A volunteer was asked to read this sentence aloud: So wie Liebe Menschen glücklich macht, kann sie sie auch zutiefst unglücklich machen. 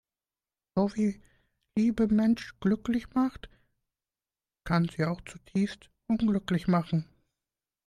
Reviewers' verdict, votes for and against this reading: rejected, 0, 2